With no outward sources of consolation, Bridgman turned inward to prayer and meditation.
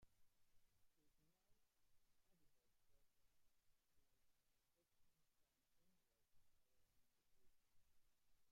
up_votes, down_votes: 1, 2